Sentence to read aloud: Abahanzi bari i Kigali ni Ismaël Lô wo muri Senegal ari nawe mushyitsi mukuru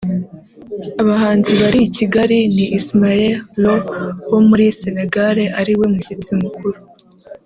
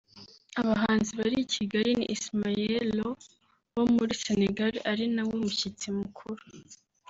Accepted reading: second